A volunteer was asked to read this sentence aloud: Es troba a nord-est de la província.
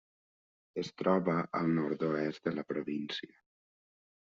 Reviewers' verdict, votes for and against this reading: rejected, 0, 2